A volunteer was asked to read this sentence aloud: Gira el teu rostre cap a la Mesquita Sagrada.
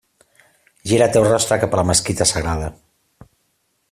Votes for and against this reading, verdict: 2, 0, accepted